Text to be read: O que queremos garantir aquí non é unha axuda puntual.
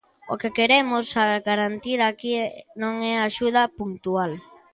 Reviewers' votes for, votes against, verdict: 0, 2, rejected